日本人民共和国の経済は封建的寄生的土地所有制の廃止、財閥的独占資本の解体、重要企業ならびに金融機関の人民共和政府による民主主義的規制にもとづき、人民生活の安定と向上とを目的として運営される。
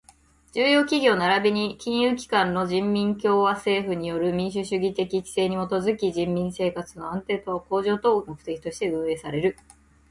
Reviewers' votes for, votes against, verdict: 0, 2, rejected